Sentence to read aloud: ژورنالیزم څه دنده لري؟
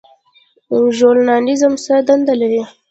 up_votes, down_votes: 0, 2